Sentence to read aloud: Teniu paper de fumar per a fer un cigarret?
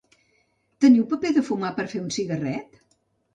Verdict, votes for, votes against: rejected, 1, 2